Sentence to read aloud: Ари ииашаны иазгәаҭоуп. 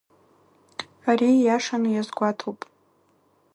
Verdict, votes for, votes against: rejected, 0, 2